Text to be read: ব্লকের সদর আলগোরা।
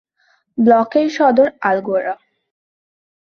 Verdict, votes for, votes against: accepted, 4, 0